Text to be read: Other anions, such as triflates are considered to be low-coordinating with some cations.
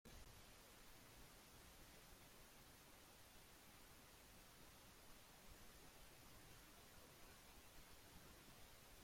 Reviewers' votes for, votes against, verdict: 0, 2, rejected